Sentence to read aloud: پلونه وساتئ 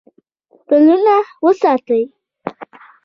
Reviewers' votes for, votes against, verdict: 2, 1, accepted